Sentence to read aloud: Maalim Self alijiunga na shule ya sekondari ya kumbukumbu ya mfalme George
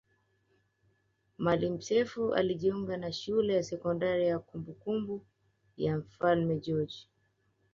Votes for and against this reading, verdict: 2, 0, accepted